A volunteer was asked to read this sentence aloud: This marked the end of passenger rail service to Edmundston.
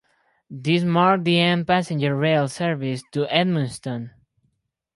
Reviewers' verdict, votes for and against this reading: rejected, 2, 2